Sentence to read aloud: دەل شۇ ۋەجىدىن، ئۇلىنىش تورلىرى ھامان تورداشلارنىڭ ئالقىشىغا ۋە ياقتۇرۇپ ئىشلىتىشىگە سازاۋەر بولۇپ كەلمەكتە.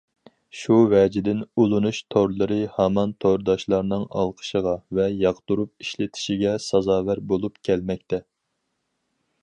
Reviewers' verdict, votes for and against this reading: rejected, 0, 4